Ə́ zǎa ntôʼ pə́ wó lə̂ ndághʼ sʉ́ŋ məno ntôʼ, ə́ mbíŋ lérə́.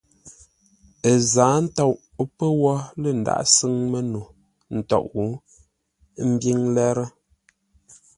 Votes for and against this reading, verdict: 2, 0, accepted